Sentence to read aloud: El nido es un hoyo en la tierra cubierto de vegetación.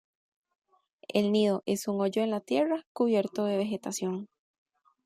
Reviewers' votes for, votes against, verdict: 2, 0, accepted